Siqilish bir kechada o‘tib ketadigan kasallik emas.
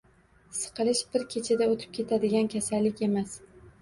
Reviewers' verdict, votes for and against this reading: rejected, 1, 2